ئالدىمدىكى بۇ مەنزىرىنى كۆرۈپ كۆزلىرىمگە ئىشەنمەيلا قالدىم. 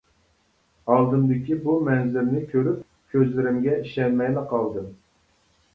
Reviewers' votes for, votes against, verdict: 2, 0, accepted